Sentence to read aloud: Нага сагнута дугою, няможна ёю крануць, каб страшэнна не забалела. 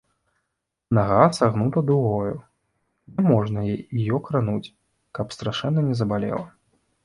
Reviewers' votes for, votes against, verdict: 0, 2, rejected